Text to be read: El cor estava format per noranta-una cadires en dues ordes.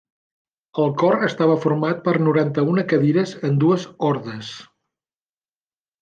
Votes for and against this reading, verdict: 2, 0, accepted